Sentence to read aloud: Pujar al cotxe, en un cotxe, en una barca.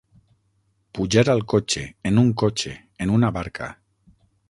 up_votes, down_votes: 3, 6